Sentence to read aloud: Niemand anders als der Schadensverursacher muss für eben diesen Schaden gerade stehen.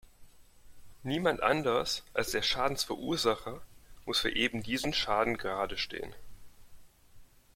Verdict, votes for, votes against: accepted, 2, 0